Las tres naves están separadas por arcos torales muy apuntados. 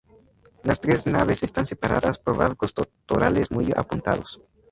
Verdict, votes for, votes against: accepted, 2, 0